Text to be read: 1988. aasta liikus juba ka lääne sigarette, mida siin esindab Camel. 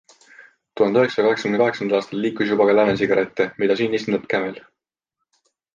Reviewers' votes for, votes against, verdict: 0, 2, rejected